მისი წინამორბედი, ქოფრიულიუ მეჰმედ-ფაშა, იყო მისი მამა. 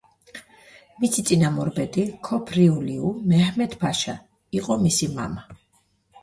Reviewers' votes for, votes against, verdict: 2, 0, accepted